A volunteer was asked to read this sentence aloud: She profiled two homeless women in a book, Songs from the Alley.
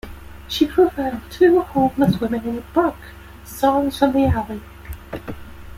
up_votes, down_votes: 0, 2